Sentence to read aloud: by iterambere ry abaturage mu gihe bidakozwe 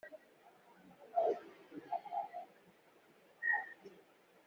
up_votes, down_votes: 1, 3